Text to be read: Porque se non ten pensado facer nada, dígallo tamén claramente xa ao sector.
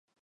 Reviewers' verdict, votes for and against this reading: rejected, 0, 4